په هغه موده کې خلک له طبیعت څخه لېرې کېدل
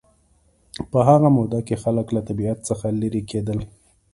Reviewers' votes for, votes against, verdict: 2, 0, accepted